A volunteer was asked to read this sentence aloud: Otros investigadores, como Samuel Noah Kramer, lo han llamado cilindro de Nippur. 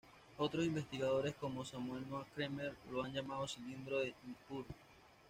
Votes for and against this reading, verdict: 0, 2, rejected